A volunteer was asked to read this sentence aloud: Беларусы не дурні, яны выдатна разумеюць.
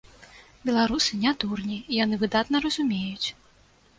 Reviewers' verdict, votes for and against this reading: accepted, 2, 0